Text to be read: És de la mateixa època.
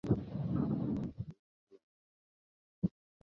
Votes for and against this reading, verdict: 1, 2, rejected